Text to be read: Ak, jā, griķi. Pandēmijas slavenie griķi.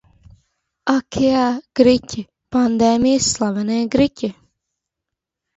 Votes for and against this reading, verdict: 2, 0, accepted